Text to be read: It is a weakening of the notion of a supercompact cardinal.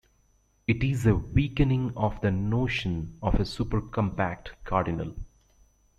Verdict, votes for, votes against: accepted, 2, 0